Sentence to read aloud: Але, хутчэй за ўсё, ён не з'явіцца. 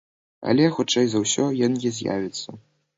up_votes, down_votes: 0, 3